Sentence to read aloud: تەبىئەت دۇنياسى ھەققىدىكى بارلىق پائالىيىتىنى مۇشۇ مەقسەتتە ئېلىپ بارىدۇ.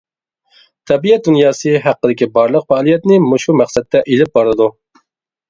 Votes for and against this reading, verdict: 0, 2, rejected